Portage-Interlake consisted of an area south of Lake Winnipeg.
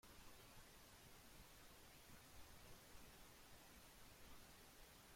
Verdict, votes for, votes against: rejected, 0, 2